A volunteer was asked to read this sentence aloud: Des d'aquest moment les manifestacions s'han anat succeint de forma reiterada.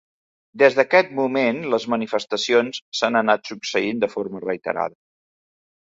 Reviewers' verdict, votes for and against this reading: accepted, 3, 0